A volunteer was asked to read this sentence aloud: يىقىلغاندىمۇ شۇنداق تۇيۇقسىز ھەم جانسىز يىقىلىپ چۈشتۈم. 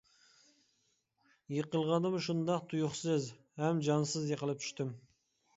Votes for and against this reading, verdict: 2, 0, accepted